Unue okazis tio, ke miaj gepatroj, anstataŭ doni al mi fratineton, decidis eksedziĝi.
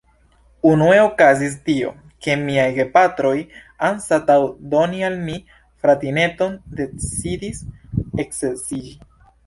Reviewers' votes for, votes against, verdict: 1, 2, rejected